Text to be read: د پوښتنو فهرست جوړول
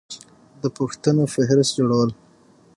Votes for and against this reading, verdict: 6, 3, accepted